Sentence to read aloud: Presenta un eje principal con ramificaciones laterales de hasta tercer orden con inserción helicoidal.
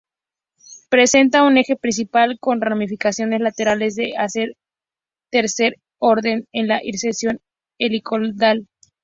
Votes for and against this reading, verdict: 0, 2, rejected